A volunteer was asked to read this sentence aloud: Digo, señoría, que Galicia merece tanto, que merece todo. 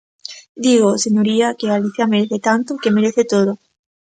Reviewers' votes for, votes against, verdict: 2, 0, accepted